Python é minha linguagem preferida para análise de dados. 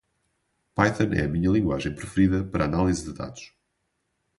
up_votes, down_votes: 2, 0